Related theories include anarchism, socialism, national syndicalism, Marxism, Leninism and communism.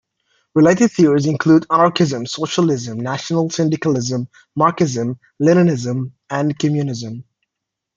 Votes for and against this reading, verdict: 0, 2, rejected